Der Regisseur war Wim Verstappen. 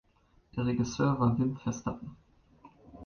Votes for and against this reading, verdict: 1, 2, rejected